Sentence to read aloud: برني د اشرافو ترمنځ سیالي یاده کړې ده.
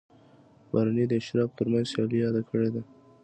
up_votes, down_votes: 2, 0